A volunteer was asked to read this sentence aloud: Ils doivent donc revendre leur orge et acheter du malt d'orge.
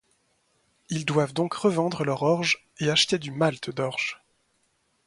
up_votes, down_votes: 2, 0